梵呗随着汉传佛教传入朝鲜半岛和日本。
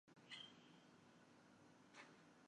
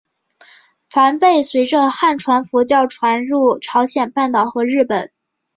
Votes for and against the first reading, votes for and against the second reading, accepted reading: 1, 2, 4, 0, second